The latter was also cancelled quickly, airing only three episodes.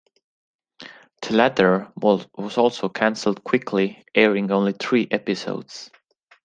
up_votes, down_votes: 2, 1